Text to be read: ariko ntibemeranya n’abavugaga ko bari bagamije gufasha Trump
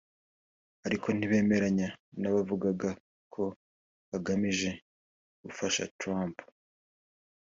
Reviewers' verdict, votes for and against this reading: accepted, 3, 0